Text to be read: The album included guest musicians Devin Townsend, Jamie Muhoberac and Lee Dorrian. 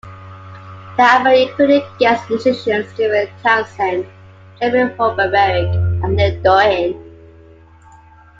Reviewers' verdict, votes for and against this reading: rejected, 0, 2